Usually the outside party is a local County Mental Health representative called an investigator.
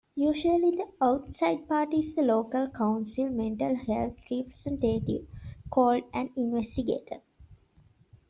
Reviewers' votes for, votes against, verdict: 1, 2, rejected